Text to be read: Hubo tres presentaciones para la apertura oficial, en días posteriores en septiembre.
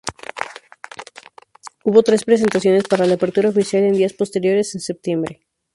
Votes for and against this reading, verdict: 2, 0, accepted